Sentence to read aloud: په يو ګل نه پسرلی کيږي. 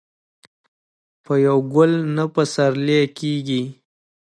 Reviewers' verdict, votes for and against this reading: accepted, 2, 0